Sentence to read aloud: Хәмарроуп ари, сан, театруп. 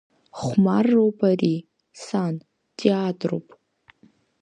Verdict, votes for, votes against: rejected, 0, 2